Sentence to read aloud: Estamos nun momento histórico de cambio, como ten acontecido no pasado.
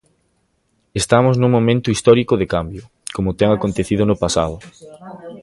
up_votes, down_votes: 2, 0